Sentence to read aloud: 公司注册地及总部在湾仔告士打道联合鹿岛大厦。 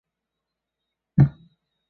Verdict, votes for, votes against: accepted, 2, 0